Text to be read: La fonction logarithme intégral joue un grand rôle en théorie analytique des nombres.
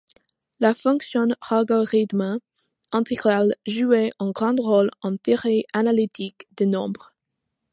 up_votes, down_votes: 0, 2